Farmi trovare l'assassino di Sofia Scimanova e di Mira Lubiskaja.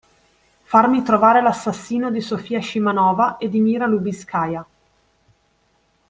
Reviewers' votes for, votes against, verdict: 2, 0, accepted